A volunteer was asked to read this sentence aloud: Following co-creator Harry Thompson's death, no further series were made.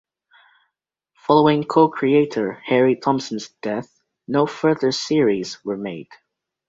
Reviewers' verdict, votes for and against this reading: accepted, 2, 0